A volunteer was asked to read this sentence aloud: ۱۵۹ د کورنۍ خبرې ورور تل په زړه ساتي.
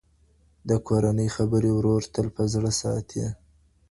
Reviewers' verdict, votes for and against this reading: rejected, 0, 2